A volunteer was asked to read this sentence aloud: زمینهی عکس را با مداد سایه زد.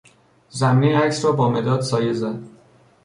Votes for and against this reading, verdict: 2, 0, accepted